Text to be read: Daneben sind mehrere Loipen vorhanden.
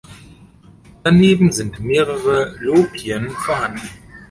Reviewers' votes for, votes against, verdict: 1, 2, rejected